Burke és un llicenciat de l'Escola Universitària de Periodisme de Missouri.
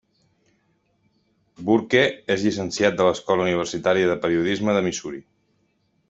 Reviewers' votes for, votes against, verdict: 1, 2, rejected